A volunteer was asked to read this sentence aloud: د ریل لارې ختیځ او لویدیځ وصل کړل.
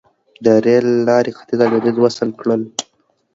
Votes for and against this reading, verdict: 2, 1, accepted